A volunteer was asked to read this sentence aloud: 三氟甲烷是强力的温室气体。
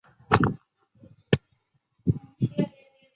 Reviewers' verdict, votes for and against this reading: rejected, 0, 2